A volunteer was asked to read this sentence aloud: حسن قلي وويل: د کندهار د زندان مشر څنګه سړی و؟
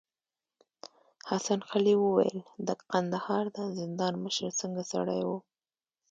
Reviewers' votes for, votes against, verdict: 2, 0, accepted